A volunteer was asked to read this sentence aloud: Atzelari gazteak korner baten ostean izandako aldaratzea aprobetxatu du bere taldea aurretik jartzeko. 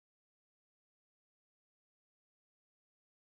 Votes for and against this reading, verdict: 0, 4, rejected